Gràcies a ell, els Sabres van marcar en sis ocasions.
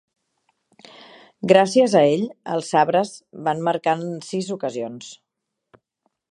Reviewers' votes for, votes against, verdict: 3, 0, accepted